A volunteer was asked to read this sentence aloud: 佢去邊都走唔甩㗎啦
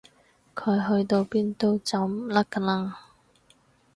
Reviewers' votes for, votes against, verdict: 2, 4, rejected